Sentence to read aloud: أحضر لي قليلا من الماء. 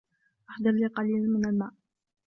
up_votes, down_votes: 2, 0